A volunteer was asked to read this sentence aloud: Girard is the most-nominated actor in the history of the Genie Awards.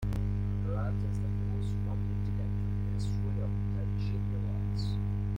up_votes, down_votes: 0, 2